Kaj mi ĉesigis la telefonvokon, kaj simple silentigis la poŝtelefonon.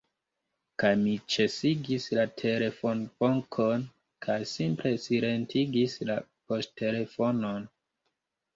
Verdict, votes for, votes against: rejected, 0, 2